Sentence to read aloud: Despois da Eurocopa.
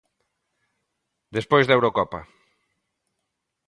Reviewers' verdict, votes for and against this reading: accepted, 2, 0